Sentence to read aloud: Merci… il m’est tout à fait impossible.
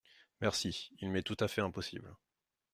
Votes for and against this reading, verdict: 2, 0, accepted